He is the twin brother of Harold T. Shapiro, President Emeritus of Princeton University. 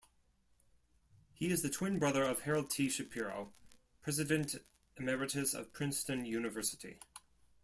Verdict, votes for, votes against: accepted, 2, 1